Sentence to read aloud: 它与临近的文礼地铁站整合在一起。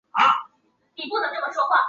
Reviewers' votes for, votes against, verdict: 0, 2, rejected